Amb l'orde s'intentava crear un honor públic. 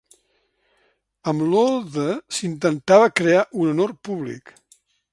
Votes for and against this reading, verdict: 1, 2, rejected